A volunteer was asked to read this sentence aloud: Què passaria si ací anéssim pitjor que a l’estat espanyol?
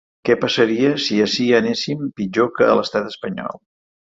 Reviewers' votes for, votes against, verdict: 1, 3, rejected